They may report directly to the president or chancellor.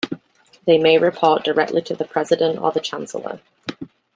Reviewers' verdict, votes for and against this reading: rejected, 1, 2